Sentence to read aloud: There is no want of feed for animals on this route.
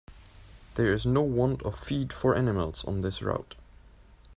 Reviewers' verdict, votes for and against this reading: accepted, 2, 0